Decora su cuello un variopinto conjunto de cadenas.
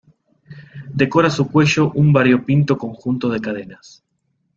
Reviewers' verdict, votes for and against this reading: accepted, 2, 0